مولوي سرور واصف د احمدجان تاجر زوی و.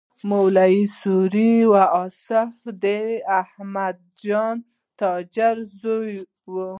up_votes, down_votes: 0, 2